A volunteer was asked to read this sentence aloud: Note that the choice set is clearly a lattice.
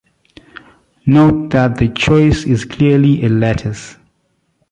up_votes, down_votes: 0, 2